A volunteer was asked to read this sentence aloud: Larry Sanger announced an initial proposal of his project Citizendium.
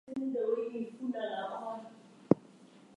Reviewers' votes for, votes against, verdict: 0, 4, rejected